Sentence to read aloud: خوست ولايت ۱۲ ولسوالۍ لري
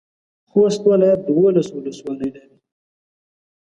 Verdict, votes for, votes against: rejected, 0, 2